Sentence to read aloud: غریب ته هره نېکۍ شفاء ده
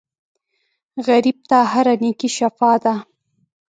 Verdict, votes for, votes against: accepted, 2, 0